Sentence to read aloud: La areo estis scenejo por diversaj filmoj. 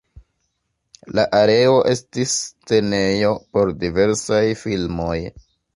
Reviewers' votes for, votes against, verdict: 1, 2, rejected